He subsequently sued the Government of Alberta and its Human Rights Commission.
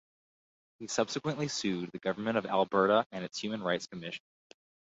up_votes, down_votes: 2, 2